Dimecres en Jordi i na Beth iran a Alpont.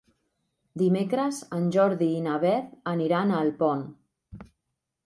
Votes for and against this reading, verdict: 0, 2, rejected